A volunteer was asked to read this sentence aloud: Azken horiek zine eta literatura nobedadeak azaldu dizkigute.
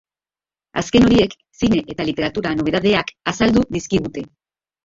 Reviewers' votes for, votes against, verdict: 3, 1, accepted